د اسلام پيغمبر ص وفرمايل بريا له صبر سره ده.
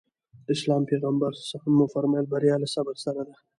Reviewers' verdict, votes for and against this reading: rejected, 1, 2